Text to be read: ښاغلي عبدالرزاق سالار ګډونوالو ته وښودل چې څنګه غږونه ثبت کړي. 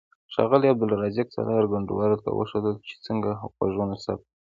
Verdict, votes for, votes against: accepted, 2, 0